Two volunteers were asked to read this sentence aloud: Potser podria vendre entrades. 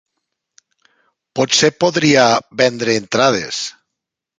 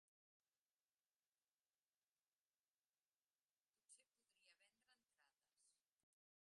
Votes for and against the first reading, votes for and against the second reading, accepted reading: 4, 1, 2, 4, first